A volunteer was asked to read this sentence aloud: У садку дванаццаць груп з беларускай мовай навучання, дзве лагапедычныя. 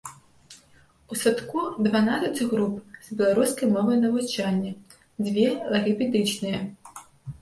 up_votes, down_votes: 1, 2